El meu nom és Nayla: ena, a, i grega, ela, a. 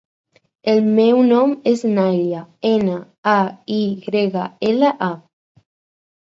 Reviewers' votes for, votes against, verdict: 4, 2, accepted